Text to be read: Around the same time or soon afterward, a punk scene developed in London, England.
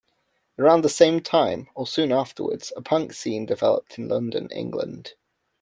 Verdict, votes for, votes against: rejected, 1, 2